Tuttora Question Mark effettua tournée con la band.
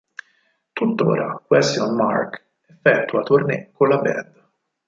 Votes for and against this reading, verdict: 2, 4, rejected